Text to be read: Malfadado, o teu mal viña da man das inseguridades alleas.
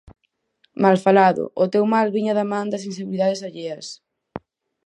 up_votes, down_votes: 2, 4